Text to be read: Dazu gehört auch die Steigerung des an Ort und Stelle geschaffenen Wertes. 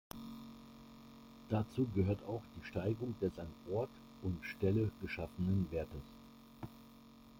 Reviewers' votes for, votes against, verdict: 2, 1, accepted